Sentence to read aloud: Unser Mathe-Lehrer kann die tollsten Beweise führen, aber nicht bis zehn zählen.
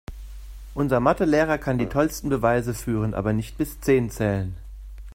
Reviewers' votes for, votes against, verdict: 3, 0, accepted